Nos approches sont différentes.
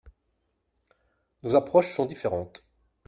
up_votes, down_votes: 2, 0